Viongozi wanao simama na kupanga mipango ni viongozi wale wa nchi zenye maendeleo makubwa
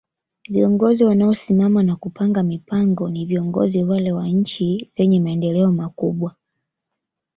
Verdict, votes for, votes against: accepted, 2, 0